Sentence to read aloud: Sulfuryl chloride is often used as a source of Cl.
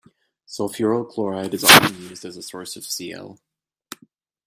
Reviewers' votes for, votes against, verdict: 1, 2, rejected